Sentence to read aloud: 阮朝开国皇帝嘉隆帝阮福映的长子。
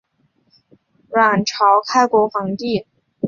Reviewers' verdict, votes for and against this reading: accepted, 2, 1